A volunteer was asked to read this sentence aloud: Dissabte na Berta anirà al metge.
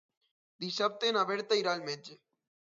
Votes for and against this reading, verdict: 0, 2, rejected